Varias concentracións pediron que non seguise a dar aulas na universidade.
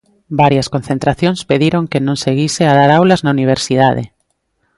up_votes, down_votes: 2, 0